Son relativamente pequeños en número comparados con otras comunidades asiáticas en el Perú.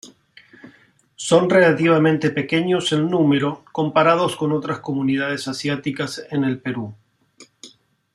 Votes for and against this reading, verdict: 2, 0, accepted